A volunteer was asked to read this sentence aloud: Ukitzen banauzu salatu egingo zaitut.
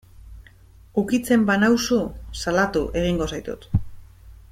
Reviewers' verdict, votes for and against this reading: accepted, 2, 1